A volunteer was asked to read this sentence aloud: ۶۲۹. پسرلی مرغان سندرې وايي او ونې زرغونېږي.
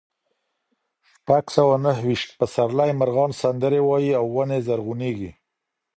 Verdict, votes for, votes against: rejected, 0, 2